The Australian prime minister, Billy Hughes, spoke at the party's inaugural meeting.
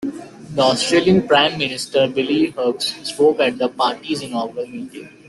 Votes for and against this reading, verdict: 2, 0, accepted